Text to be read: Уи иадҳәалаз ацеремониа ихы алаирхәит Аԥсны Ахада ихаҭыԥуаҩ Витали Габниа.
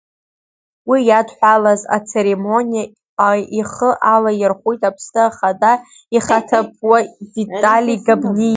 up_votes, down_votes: 1, 2